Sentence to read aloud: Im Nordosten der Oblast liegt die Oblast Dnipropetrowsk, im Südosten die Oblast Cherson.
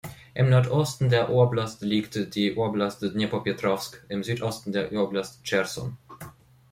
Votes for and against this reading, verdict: 0, 2, rejected